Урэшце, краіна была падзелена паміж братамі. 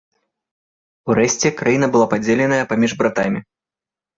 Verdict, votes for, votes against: rejected, 1, 2